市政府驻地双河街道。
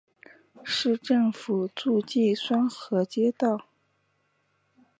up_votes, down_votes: 2, 0